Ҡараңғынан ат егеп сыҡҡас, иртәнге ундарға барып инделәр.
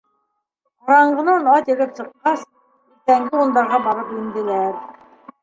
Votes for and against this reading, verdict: 1, 2, rejected